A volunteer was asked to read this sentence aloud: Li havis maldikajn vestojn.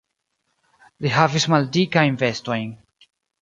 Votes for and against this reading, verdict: 2, 0, accepted